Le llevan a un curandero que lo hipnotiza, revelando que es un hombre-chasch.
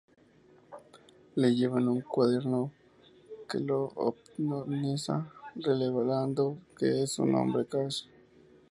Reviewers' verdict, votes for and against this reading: rejected, 0, 2